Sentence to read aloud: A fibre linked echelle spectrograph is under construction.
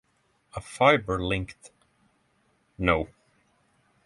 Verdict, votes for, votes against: rejected, 0, 6